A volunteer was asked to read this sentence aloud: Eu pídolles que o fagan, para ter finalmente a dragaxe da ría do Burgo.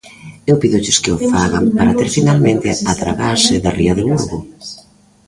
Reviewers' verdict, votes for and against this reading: accepted, 2, 1